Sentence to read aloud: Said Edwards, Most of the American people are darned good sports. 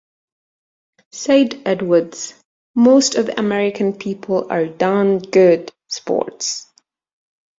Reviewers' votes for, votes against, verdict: 2, 1, accepted